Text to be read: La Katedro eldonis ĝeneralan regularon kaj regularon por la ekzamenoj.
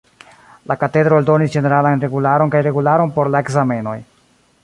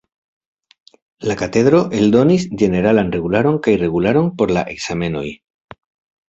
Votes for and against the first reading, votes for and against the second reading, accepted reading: 0, 2, 2, 0, second